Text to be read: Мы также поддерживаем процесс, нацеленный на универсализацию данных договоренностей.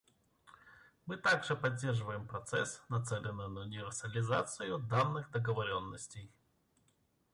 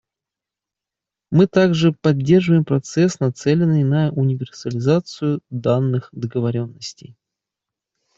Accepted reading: second